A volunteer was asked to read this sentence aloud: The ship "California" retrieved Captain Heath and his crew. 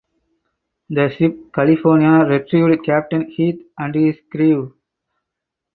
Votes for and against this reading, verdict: 0, 2, rejected